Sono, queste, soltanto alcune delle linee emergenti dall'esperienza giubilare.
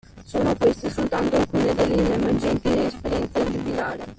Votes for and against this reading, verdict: 0, 2, rejected